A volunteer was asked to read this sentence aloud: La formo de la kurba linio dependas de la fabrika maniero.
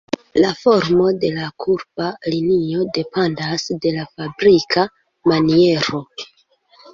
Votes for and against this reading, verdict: 1, 2, rejected